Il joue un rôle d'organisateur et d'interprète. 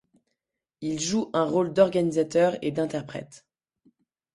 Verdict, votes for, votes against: accepted, 2, 0